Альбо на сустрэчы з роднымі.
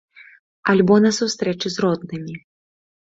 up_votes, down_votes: 2, 0